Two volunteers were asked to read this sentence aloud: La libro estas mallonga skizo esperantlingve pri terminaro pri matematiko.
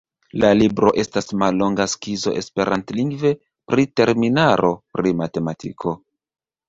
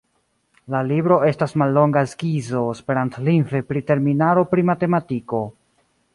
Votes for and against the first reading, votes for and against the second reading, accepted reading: 1, 2, 2, 0, second